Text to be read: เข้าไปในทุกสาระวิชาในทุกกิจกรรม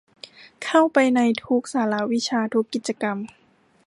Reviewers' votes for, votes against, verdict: 0, 2, rejected